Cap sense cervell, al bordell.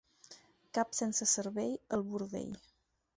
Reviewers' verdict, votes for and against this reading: accepted, 4, 0